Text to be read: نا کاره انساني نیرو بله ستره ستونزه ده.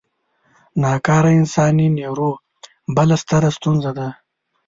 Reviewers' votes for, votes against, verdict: 2, 0, accepted